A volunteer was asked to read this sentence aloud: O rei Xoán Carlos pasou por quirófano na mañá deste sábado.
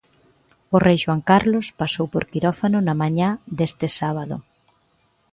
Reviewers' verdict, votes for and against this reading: accepted, 2, 0